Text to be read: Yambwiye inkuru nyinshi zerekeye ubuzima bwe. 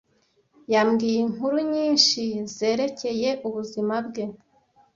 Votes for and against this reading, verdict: 2, 0, accepted